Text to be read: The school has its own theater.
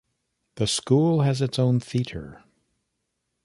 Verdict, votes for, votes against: accepted, 2, 0